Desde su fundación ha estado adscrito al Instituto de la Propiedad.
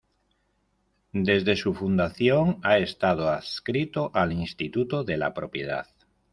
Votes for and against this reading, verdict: 2, 0, accepted